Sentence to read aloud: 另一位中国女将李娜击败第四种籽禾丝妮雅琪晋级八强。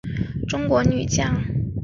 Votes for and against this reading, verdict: 0, 3, rejected